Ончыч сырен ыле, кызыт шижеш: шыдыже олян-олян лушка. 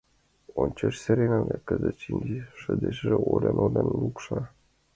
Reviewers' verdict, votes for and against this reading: rejected, 0, 2